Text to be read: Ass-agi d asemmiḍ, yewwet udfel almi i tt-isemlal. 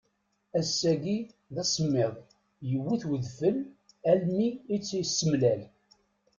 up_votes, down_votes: 2, 0